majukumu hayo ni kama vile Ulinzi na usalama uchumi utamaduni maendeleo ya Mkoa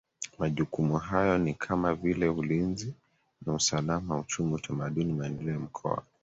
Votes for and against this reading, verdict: 5, 1, accepted